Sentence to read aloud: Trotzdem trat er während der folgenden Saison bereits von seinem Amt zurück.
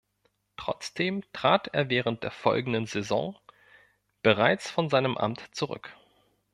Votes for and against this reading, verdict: 2, 0, accepted